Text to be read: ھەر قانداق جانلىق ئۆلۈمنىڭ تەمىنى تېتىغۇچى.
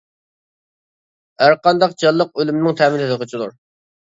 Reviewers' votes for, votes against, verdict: 0, 2, rejected